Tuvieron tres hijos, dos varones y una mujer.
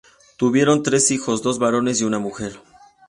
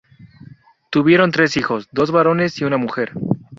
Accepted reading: first